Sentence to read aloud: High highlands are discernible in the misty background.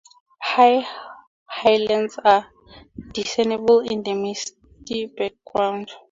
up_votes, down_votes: 0, 2